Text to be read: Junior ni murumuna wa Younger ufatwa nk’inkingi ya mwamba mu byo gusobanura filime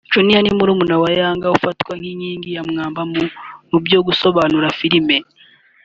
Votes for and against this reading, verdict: 3, 1, accepted